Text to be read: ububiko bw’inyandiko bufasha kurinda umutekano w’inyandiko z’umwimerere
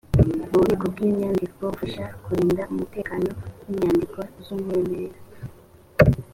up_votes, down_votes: 3, 0